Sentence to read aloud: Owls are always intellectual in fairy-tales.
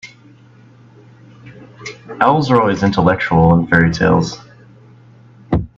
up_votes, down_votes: 2, 0